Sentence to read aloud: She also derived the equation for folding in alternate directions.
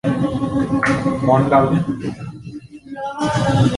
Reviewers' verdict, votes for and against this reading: rejected, 0, 2